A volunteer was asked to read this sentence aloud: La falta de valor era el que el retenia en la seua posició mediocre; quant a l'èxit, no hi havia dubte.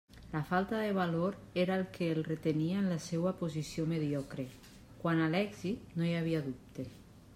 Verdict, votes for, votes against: accepted, 2, 0